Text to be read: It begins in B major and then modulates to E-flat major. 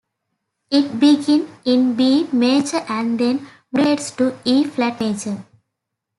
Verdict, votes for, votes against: rejected, 1, 2